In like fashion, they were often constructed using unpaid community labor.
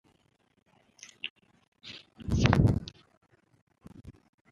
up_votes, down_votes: 0, 2